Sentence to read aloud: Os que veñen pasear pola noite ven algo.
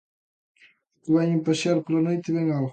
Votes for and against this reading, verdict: 0, 2, rejected